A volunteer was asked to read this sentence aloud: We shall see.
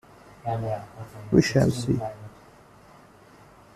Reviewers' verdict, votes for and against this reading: accepted, 2, 0